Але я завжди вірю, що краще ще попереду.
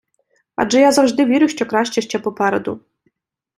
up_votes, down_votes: 0, 2